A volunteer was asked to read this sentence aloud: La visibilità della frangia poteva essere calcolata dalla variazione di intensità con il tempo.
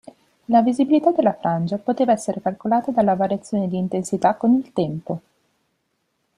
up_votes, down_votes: 2, 0